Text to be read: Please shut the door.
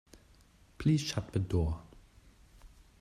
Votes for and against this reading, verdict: 2, 0, accepted